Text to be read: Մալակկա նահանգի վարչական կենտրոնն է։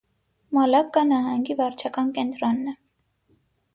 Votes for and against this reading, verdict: 6, 0, accepted